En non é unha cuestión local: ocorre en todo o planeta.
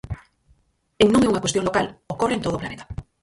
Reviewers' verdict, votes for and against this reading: rejected, 0, 4